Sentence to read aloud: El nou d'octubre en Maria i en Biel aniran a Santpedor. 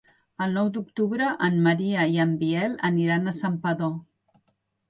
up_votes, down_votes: 3, 0